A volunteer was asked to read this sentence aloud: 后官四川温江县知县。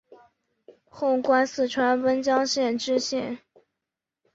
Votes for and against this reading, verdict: 2, 0, accepted